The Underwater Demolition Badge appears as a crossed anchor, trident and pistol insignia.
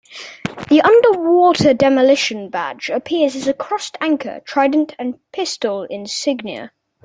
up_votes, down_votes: 2, 0